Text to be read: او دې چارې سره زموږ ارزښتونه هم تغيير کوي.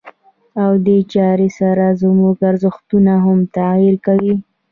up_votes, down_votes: 2, 1